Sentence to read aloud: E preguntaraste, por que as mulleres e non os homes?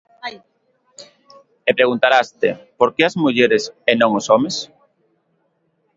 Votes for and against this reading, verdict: 1, 2, rejected